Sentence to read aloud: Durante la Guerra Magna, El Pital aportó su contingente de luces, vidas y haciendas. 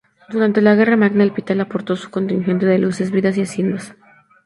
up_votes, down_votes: 0, 2